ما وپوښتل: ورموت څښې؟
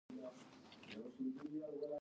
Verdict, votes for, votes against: accepted, 2, 0